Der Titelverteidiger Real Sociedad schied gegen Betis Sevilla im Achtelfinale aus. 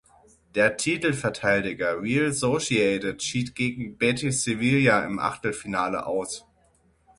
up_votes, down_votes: 0, 6